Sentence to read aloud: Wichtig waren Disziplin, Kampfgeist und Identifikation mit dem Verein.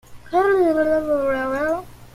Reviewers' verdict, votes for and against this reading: rejected, 0, 2